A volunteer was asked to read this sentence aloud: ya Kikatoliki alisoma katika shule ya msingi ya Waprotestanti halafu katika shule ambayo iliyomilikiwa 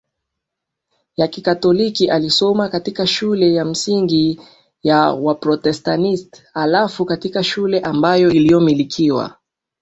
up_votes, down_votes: 1, 2